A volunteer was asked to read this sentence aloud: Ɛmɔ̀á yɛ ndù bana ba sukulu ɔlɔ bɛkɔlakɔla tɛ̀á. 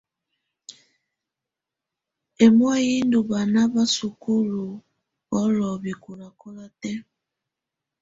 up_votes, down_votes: 2, 0